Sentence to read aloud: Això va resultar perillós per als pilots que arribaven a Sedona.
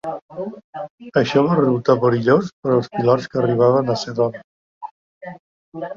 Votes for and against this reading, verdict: 1, 2, rejected